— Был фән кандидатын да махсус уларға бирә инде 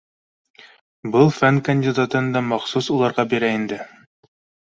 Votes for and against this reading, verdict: 2, 1, accepted